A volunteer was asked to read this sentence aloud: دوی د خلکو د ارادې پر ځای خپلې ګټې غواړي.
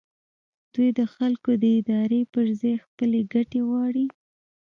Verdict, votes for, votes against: accepted, 2, 0